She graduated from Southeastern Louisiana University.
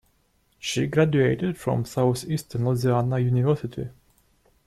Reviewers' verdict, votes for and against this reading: rejected, 0, 2